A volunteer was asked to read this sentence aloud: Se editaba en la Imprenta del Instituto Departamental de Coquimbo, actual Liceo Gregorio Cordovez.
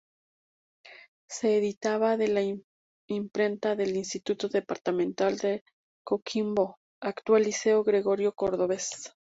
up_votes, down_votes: 2, 0